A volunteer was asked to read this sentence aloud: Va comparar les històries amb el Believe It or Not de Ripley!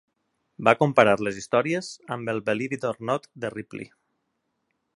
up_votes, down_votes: 2, 1